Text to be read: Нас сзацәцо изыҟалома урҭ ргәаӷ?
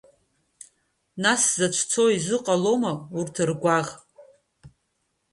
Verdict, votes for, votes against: rejected, 1, 2